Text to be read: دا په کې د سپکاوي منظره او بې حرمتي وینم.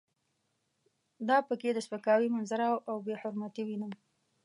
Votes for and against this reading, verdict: 2, 0, accepted